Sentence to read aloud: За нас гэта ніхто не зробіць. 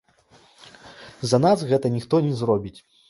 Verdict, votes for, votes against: accepted, 2, 0